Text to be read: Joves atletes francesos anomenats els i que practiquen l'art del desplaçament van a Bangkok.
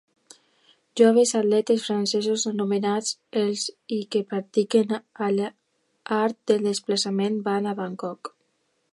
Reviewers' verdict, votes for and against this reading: rejected, 0, 2